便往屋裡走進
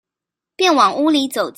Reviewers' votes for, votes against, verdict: 0, 2, rejected